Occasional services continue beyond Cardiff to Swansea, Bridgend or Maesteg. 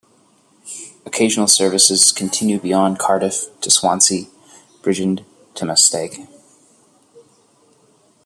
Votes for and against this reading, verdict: 2, 1, accepted